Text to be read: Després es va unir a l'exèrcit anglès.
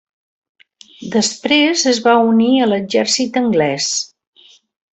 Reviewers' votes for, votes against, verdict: 3, 0, accepted